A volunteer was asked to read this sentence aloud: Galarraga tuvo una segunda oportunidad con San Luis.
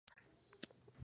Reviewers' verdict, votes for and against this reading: rejected, 0, 2